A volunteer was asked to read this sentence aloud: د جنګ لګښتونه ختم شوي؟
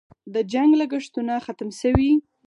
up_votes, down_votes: 2, 4